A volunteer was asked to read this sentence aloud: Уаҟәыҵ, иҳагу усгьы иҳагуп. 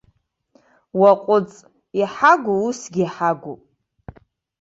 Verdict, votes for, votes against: accepted, 2, 0